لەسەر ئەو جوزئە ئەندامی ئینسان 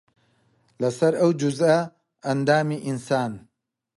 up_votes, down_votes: 3, 0